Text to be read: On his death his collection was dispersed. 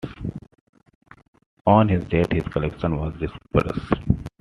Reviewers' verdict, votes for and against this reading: accepted, 2, 0